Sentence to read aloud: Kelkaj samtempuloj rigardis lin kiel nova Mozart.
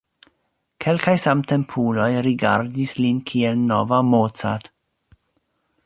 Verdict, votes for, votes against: accepted, 2, 1